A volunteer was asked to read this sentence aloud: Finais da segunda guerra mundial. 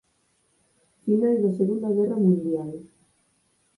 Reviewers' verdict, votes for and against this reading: rejected, 2, 4